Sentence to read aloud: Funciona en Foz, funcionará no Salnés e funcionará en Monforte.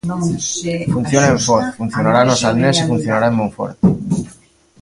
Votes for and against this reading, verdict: 1, 2, rejected